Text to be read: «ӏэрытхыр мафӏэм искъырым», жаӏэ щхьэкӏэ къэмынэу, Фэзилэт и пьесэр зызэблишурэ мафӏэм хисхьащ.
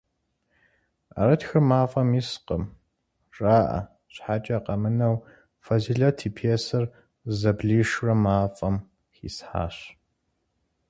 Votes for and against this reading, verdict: 4, 0, accepted